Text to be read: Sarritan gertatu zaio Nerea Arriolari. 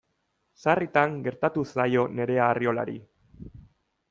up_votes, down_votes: 2, 0